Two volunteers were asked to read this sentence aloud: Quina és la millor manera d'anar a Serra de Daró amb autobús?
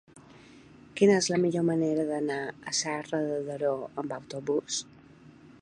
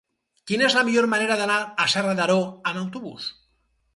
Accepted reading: first